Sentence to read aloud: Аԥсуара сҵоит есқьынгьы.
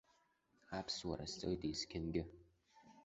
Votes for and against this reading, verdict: 1, 2, rejected